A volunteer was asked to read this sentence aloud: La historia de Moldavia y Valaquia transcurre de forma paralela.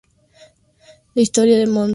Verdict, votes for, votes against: rejected, 0, 2